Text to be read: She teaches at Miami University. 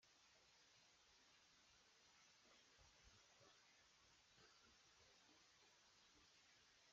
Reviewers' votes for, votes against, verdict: 0, 2, rejected